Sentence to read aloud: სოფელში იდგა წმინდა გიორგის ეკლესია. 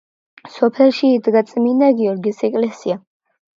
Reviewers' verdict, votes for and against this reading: accepted, 2, 0